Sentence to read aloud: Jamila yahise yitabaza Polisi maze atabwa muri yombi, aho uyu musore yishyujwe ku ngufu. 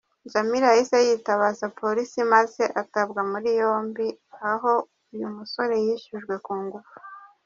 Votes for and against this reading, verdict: 1, 2, rejected